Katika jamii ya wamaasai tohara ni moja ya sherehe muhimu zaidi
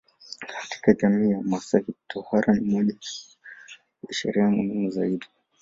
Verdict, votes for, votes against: rejected, 1, 2